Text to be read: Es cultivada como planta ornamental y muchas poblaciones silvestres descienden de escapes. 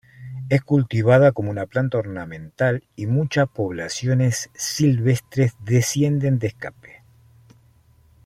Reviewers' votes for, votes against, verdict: 0, 2, rejected